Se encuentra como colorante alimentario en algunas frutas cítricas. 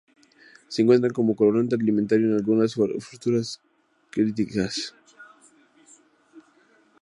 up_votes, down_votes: 0, 2